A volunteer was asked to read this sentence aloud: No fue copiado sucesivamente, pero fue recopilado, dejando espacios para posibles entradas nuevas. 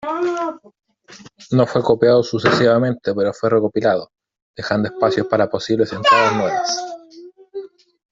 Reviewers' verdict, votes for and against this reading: rejected, 1, 2